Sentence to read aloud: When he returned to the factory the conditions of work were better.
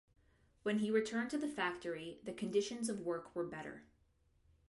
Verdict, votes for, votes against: accepted, 2, 0